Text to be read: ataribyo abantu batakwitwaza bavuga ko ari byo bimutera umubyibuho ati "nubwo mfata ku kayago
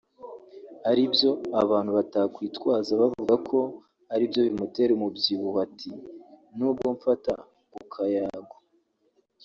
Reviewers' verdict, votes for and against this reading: rejected, 0, 2